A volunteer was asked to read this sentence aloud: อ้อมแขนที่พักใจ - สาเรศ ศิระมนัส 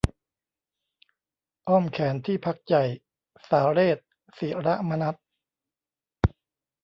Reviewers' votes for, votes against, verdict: 0, 2, rejected